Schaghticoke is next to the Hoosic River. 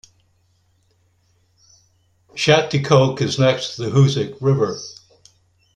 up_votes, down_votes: 2, 0